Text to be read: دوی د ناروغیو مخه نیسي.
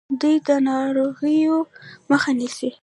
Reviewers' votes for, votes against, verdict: 0, 2, rejected